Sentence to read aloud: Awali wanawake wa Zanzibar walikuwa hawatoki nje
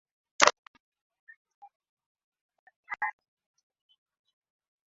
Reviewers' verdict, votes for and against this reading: rejected, 0, 2